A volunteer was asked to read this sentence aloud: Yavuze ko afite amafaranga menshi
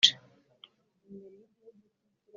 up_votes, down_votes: 0, 2